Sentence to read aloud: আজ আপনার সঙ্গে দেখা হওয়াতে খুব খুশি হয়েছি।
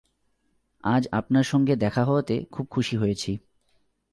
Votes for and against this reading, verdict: 2, 0, accepted